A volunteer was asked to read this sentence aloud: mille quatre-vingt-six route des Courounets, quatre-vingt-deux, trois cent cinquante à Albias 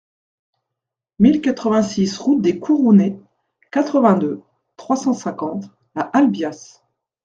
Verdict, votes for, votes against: accepted, 2, 0